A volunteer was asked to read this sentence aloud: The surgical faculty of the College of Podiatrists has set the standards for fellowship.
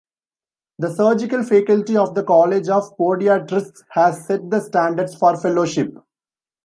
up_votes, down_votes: 1, 2